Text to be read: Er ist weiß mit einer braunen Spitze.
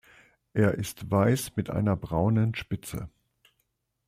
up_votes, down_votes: 2, 0